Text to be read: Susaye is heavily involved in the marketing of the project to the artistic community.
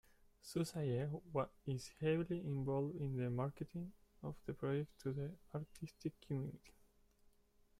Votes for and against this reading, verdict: 0, 2, rejected